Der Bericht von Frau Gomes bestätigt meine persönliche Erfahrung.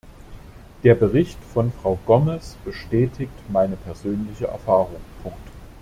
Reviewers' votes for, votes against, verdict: 0, 2, rejected